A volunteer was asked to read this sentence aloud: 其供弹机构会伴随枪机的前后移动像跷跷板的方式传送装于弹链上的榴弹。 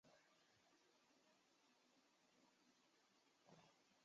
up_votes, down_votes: 0, 3